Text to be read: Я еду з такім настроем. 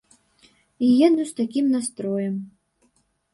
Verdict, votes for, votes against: rejected, 1, 2